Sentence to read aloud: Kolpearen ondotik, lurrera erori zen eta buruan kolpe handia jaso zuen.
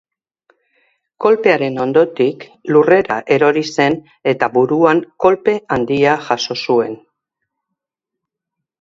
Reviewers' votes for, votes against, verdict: 2, 0, accepted